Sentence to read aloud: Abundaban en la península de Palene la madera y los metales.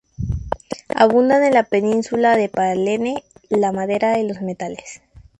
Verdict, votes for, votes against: rejected, 0, 2